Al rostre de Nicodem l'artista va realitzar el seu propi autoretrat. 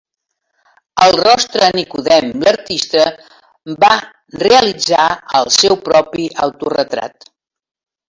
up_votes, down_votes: 0, 2